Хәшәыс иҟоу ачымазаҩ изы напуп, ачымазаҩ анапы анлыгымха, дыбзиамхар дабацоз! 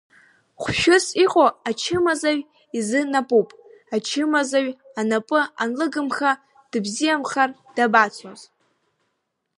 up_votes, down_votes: 0, 2